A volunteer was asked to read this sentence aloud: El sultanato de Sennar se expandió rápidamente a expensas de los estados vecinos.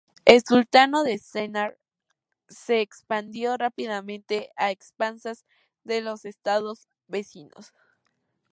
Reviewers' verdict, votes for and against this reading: rejected, 0, 2